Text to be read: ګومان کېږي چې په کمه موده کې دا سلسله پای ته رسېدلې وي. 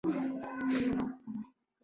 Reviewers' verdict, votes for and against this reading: rejected, 1, 2